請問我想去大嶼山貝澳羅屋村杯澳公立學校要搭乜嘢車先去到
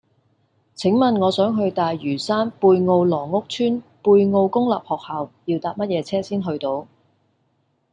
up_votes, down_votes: 0, 2